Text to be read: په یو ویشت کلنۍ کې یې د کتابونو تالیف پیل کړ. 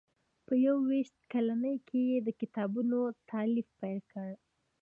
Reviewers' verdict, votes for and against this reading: accepted, 2, 0